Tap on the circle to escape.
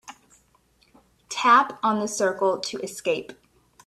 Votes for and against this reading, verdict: 2, 0, accepted